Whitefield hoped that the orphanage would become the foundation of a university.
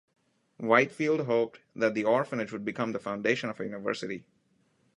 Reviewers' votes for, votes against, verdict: 1, 2, rejected